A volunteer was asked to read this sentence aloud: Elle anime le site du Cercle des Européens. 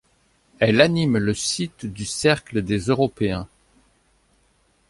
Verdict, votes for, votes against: accepted, 2, 0